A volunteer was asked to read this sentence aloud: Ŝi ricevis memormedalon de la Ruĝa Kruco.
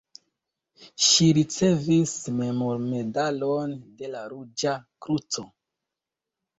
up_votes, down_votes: 2, 0